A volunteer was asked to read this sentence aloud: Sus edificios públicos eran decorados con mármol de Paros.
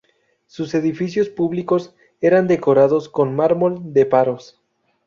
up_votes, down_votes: 0, 2